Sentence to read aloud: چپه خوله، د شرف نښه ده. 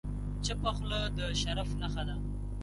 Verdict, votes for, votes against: accepted, 2, 0